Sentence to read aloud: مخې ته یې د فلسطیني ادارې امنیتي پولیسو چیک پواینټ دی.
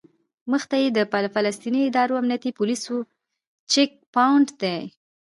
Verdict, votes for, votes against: accepted, 2, 0